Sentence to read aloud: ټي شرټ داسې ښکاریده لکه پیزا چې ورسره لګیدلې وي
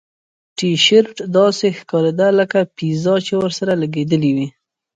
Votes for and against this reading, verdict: 1, 2, rejected